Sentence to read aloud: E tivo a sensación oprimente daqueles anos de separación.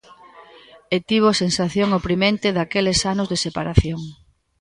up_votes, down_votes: 1, 2